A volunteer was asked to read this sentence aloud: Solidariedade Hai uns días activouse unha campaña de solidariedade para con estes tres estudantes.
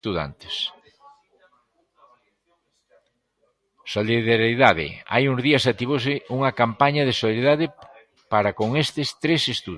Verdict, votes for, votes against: rejected, 0, 3